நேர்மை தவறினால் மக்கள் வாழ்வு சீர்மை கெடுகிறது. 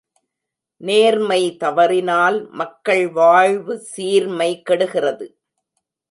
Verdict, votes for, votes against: accepted, 2, 0